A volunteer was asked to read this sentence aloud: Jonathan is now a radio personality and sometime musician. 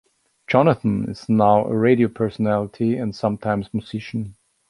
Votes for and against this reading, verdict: 2, 1, accepted